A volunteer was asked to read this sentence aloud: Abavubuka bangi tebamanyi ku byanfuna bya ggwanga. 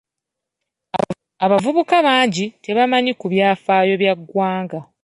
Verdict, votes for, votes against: rejected, 0, 2